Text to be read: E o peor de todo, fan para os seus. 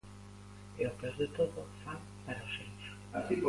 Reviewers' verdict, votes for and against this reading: rejected, 1, 2